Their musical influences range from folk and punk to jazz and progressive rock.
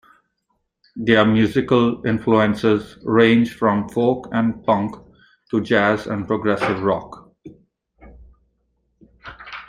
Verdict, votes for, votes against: accepted, 2, 0